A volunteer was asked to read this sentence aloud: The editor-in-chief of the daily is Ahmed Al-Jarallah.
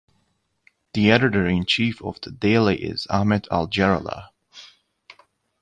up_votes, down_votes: 2, 0